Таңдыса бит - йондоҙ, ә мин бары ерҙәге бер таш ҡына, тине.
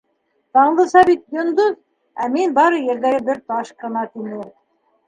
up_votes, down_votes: 1, 2